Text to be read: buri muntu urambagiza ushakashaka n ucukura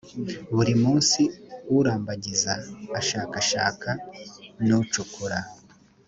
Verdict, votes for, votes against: rejected, 2, 3